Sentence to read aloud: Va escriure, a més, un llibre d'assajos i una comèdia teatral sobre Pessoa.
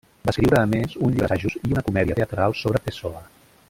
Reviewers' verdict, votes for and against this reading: rejected, 0, 2